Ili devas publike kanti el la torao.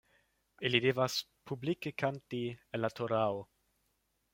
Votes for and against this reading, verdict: 2, 0, accepted